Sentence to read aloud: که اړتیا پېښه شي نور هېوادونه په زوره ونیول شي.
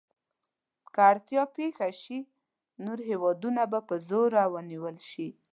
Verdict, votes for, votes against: accepted, 2, 0